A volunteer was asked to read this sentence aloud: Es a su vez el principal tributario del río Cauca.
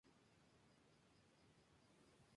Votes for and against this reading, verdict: 0, 2, rejected